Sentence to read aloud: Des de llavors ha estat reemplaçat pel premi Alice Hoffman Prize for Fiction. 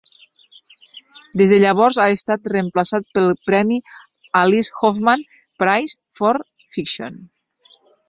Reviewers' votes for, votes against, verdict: 2, 0, accepted